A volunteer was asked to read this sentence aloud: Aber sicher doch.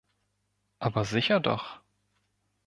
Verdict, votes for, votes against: accepted, 3, 0